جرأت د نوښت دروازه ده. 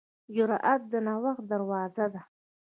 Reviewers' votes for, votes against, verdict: 0, 2, rejected